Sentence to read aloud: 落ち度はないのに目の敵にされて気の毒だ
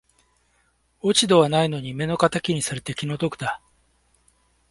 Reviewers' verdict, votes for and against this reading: accepted, 2, 0